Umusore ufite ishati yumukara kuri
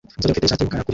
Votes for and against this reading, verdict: 0, 2, rejected